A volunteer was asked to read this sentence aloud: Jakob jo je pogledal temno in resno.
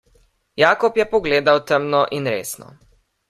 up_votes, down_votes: 0, 2